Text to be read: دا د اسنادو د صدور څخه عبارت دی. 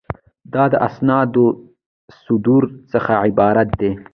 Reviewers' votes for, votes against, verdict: 2, 1, accepted